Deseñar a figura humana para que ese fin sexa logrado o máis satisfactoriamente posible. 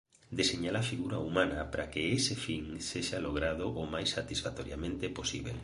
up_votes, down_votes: 1, 2